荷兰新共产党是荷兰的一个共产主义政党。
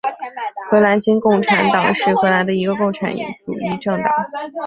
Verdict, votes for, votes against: accepted, 2, 0